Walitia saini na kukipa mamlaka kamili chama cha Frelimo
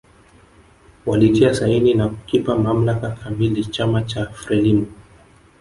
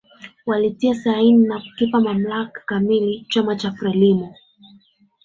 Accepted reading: second